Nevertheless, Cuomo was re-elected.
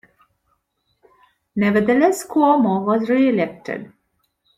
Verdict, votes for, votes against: accepted, 2, 1